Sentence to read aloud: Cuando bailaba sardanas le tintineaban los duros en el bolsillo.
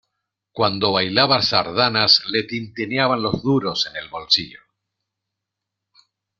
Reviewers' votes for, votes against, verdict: 2, 0, accepted